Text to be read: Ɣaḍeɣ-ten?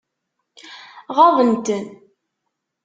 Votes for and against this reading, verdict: 0, 2, rejected